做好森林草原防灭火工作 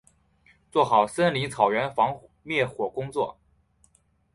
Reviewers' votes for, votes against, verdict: 4, 1, accepted